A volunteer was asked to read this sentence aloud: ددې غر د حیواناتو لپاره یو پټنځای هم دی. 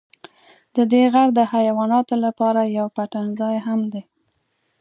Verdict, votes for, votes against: accepted, 2, 0